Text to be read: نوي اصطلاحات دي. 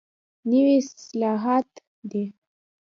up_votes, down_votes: 2, 0